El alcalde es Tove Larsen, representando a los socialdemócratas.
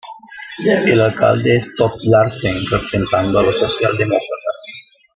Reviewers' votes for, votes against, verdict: 1, 2, rejected